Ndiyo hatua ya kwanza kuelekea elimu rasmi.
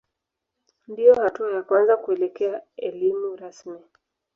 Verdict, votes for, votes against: accepted, 2, 0